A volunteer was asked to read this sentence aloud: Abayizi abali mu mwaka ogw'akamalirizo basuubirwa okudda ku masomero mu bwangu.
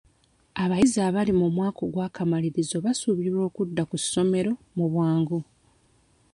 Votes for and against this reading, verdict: 0, 2, rejected